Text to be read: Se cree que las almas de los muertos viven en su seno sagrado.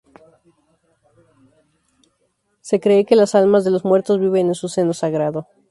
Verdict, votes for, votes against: accepted, 4, 0